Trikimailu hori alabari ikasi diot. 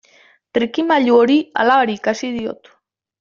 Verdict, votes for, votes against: accepted, 2, 0